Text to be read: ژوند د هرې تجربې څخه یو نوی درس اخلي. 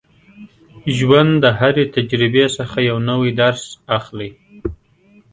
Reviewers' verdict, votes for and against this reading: accepted, 3, 0